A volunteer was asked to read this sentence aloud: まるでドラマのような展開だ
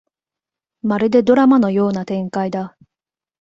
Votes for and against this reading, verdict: 2, 0, accepted